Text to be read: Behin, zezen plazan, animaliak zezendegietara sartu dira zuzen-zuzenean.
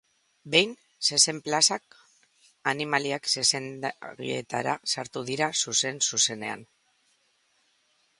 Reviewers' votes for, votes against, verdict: 0, 2, rejected